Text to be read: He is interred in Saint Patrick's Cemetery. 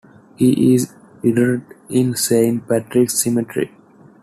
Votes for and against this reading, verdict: 2, 1, accepted